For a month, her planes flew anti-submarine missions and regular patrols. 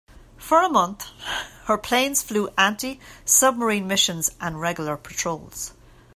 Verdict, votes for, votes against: rejected, 0, 2